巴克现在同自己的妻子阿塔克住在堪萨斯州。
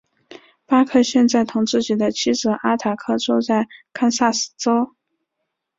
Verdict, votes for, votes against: accepted, 2, 0